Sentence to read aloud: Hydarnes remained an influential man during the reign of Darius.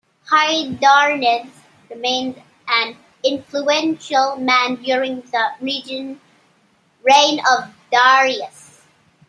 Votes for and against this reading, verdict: 0, 2, rejected